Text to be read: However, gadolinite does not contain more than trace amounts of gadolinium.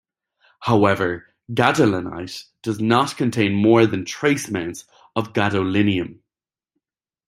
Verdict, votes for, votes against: accepted, 2, 0